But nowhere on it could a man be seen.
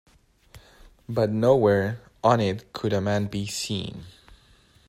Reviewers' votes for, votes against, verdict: 2, 0, accepted